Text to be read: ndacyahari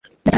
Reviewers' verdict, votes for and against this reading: rejected, 0, 2